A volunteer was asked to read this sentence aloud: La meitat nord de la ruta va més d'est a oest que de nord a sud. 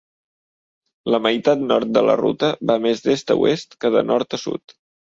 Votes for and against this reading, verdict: 3, 0, accepted